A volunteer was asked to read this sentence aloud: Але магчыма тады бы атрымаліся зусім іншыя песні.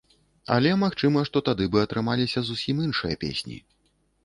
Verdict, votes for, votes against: rejected, 0, 3